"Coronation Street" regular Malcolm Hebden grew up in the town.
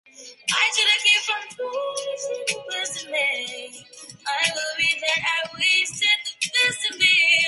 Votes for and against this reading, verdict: 0, 2, rejected